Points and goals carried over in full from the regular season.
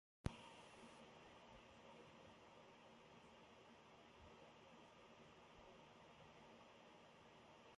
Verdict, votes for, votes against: rejected, 0, 2